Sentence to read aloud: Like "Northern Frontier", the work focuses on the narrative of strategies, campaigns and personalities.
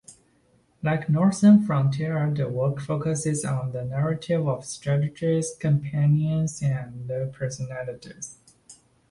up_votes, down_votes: 0, 2